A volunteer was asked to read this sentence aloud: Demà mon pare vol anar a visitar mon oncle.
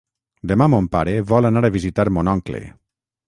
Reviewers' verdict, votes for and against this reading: accepted, 6, 0